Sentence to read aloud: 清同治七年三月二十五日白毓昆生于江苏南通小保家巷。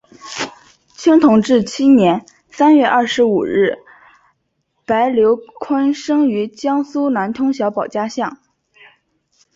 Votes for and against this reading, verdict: 2, 3, rejected